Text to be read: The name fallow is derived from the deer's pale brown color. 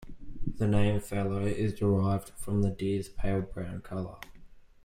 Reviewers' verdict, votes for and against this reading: accepted, 2, 0